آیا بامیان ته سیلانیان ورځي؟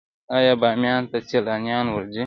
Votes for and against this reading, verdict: 2, 0, accepted